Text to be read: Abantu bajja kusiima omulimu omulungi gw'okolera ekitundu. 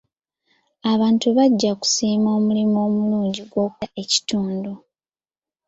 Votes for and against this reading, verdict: 0, 2, rejected